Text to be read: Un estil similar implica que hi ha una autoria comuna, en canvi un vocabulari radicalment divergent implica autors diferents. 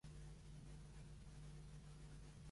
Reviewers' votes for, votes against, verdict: 0, 2, rejected